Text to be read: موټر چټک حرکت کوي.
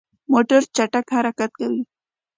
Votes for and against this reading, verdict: 2, 0, accepted